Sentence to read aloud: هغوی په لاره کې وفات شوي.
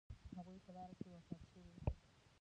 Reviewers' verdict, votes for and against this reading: rejected, 0, 2